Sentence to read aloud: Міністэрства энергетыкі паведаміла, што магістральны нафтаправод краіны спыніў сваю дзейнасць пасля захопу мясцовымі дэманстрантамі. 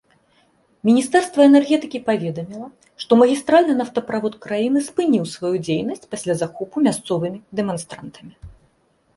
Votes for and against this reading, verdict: 2, 0, accepted